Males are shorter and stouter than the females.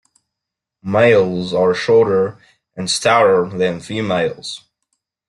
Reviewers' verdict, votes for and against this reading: rejected, 0, 2